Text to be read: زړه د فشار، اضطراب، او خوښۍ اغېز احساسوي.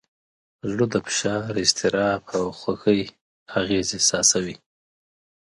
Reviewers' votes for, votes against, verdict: 3, 0, accepted